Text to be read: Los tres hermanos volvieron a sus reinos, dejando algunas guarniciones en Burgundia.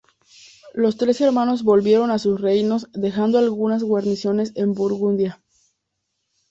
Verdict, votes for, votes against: accepted, 2, 0